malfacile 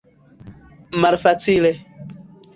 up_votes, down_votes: 2, 1